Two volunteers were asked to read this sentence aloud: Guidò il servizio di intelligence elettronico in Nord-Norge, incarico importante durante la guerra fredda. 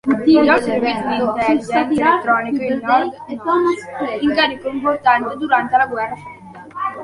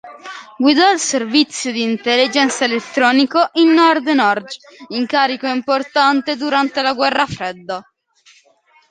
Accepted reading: second